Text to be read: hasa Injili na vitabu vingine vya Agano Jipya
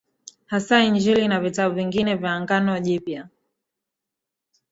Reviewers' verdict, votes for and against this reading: rejected, 1, 2